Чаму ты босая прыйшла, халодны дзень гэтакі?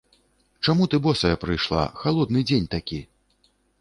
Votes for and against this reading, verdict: 1, 2, rejected